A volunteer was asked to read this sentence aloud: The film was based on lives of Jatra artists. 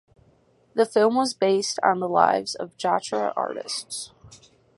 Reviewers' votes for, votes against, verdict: 0, 4, rejected